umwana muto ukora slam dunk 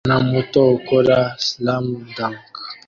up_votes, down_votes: 0, 2